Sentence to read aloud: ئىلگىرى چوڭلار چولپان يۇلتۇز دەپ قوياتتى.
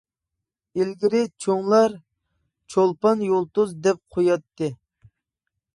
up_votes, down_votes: 3, 0